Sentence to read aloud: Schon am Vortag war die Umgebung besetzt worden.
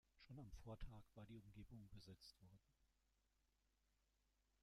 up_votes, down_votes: 0, 2